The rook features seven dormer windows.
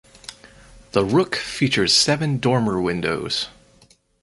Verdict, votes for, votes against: accepted, 4, 0